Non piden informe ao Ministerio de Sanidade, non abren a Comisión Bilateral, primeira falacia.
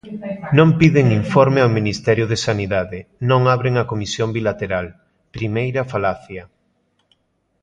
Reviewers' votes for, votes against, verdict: 2, 0, accepted